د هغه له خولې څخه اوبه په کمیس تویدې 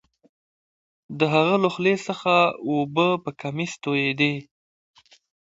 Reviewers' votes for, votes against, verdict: 2, 1, accepted